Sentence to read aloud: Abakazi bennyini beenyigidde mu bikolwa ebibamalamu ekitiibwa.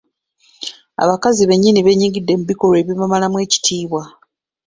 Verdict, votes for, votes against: accepted, 2, 0